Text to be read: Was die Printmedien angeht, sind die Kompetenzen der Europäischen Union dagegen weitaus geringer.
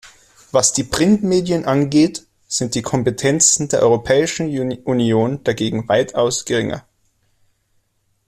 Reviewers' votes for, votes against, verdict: 2, 3, rejected